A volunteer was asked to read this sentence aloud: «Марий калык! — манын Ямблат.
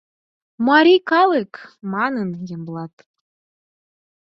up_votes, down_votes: 4, 0